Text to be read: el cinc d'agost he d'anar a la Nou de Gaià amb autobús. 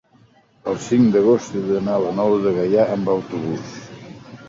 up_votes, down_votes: 3, 0